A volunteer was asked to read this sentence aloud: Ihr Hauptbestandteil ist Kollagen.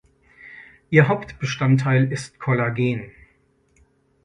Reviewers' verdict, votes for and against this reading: accepted, 2, 0